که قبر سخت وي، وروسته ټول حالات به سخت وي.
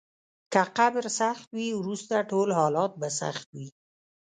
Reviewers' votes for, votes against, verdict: 1, 2, rejected